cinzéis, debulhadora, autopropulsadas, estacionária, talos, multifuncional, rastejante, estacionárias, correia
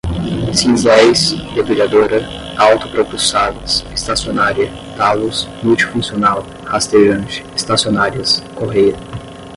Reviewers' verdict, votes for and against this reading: accepted, 10, 0